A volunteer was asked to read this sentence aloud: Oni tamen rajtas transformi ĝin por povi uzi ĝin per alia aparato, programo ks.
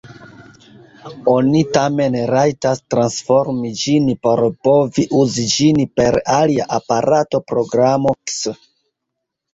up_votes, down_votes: 0, 2